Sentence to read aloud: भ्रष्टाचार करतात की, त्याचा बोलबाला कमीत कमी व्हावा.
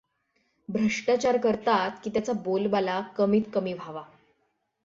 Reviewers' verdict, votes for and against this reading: accepted, 6, 0